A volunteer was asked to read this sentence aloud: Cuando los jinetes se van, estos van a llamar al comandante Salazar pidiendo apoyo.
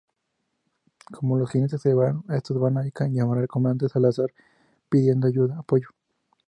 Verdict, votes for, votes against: rejected, 0, 4